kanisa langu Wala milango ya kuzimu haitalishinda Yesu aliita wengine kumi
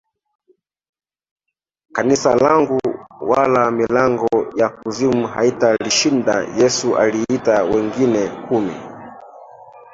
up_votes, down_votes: 0, 2